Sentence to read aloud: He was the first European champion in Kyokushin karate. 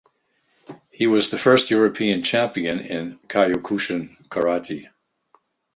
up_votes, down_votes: 1, 2